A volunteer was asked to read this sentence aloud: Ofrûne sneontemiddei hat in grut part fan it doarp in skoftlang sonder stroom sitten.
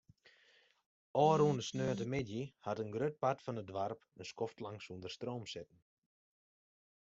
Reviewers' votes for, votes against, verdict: 1, 2, rejected